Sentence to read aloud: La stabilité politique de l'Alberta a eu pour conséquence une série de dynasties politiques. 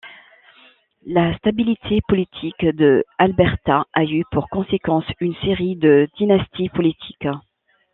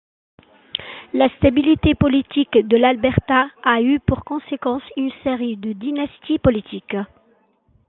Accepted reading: second